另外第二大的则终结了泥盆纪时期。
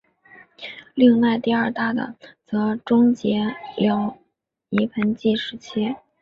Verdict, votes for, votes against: accepted, 3, 0